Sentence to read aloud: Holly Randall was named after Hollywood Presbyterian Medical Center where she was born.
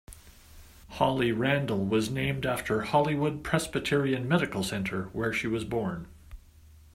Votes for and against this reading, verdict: 2, 0, accepted